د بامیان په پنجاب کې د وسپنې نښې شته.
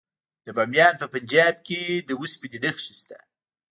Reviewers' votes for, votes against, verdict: 1, 2, rejected